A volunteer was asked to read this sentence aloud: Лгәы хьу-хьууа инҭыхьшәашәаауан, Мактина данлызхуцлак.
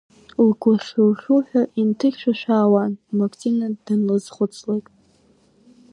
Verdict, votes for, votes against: rejected, 1, 2